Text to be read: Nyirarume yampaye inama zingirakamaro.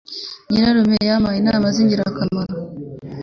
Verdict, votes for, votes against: accepted, 3, 0